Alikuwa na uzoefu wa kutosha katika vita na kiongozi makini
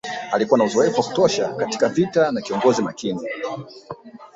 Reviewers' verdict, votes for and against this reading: rejected, 0, 2